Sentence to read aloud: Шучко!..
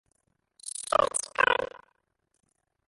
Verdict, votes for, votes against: rejected, 0, 2